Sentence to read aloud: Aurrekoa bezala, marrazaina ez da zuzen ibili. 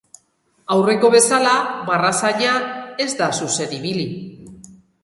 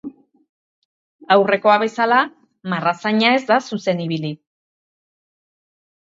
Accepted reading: second